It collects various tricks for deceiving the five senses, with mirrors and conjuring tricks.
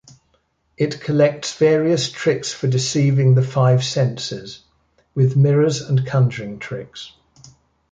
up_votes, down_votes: 2, 0